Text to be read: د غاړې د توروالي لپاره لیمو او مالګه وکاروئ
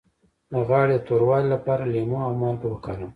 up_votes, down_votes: 2, 0